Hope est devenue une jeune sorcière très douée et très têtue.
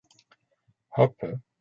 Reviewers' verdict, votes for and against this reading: rejected, 0, 2